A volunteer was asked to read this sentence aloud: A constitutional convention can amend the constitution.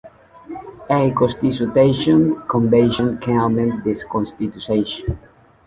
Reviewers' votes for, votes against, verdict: 0, 2, rejected